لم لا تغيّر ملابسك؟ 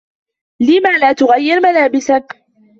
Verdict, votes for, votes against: accepted, 2, 1